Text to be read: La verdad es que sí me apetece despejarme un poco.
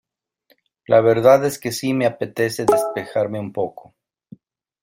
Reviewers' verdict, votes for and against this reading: accepted, 2, 1